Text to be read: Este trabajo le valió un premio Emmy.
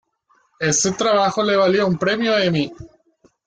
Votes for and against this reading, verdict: 1, 2, rejected